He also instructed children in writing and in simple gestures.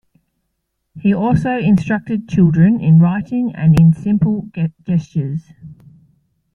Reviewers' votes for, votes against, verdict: 1, 2, rejected